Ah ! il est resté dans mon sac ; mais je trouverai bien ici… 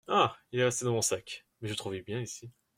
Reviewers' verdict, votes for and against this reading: rejected, 0, 2